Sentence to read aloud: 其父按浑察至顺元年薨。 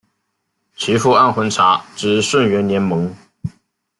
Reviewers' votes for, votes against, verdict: 1, 2, rejected